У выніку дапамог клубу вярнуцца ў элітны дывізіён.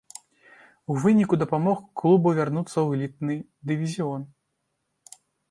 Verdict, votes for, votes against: rejected, 0, 2